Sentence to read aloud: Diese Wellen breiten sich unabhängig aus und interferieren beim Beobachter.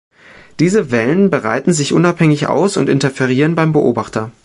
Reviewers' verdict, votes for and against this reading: rejected, 1, 2